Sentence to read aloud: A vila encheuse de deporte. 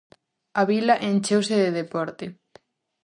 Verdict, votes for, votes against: accepted, 4, 0